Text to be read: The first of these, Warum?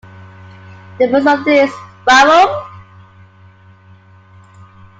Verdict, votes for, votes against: accepted, 2, 0